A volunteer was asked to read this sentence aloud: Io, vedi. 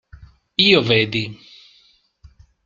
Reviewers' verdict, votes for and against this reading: accepted, 2, 0